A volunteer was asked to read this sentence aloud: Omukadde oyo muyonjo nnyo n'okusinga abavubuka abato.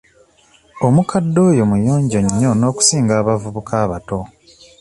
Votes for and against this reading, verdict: 2, 0, accepted